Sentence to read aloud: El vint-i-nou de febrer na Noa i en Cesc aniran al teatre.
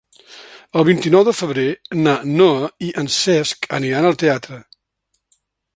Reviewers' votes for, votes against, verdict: 3, 0, accepted